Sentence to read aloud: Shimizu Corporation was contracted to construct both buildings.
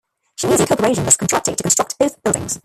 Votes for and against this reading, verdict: 0, 2, rejected